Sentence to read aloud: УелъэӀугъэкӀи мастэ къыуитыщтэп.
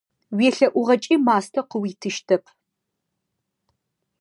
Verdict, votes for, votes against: accepted, 2, 0